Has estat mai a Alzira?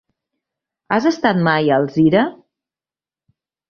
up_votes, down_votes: 3, 0